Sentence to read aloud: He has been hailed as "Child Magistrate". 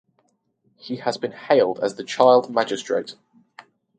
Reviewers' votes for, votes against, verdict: 4, 4, rejected